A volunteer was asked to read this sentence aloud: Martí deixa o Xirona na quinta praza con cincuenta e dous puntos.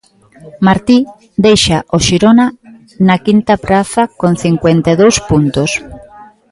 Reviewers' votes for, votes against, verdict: 3, 0, accepted